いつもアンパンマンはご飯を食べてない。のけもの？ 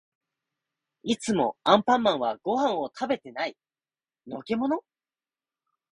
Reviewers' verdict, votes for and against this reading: rejected, 1, 2